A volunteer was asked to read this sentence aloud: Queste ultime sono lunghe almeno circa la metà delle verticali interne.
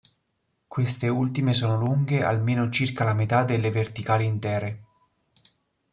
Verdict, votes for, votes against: rejected, 0, 2